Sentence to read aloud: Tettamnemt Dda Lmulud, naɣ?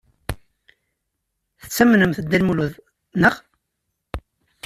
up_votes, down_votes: 2, 0